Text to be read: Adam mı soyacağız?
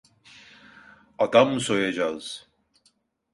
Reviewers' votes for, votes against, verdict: 2, 0, accepted